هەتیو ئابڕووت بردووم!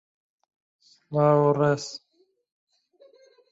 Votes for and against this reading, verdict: 0, 2, rejected